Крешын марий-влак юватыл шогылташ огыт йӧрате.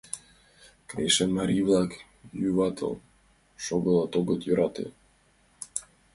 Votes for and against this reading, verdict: 2, 1, accepted